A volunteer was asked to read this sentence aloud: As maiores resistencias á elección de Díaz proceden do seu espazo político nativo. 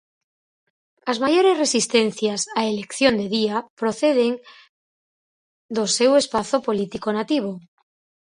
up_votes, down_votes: 2, 4